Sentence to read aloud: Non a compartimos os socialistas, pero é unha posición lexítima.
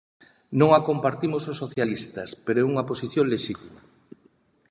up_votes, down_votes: 2, 0